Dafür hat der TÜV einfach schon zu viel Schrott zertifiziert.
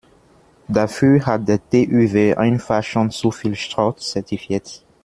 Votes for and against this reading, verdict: 1, 2, rejected